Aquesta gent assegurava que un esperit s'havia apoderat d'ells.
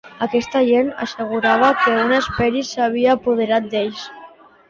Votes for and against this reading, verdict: 2, 1, accepted